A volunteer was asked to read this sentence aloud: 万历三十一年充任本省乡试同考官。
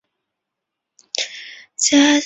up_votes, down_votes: 0, 4